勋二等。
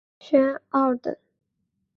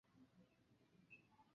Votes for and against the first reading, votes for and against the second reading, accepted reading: 3, 0, 0, 3, first